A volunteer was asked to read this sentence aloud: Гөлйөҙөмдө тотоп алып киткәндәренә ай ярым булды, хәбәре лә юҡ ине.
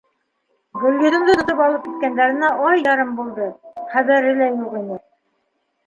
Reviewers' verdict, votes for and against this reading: accepted, 2, 1